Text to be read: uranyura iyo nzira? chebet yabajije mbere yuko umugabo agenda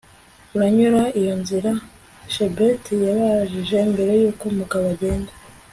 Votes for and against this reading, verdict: 2, 0, accepted